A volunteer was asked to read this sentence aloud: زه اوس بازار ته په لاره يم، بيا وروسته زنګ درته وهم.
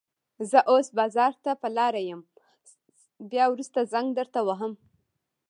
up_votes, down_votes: 1, 2